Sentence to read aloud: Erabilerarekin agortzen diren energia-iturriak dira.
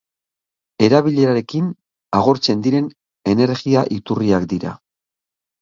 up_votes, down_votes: 0, 2